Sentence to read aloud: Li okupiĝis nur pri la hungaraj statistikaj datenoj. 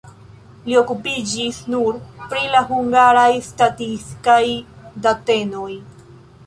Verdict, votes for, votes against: rejected, 0, 2